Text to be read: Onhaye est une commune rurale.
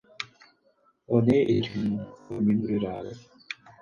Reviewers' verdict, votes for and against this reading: accepted, 4, 2